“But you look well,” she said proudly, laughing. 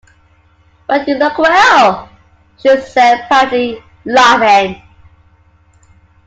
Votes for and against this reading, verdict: 2, 0, accepted